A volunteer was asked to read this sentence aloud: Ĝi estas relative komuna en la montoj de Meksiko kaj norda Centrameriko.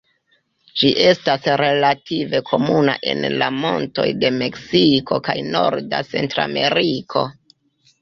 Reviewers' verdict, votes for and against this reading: rejected, 0, 2